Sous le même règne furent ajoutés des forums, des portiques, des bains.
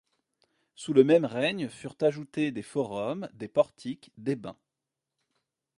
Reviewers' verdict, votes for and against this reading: accepted, 2, 0